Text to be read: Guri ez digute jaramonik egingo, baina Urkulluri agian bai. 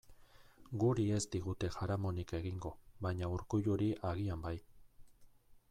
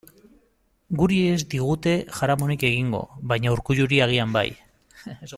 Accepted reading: first